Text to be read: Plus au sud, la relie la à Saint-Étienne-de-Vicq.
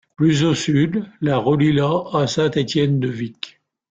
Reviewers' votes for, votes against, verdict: 2, 0, accepted